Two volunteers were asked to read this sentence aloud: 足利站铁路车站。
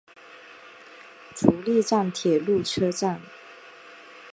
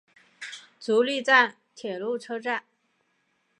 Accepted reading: second